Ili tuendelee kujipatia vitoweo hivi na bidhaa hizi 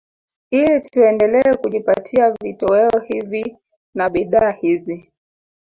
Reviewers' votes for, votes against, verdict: 0, 2, rejected